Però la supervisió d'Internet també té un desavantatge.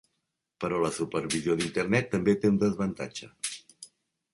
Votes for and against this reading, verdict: 3, 1, accepted